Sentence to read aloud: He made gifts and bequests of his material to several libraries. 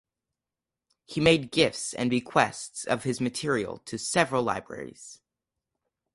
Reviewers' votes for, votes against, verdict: 4, 0, accepted